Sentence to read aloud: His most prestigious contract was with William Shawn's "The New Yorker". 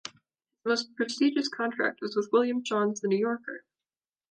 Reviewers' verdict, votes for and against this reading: rejected, 1, 2